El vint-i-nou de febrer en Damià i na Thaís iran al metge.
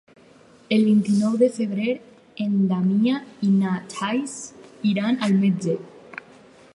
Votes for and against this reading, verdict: 2, 0, accepted